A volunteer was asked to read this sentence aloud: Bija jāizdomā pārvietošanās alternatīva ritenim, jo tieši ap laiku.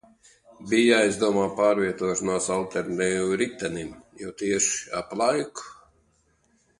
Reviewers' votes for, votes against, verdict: 1, 2, rejected